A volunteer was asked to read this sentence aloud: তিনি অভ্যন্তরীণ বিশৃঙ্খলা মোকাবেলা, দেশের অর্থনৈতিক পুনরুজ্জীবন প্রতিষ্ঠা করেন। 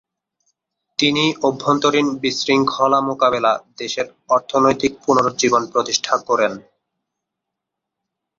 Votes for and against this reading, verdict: 3, 0, accepted